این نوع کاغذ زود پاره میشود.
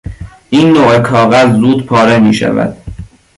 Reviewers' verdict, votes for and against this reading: accepted, 2, 0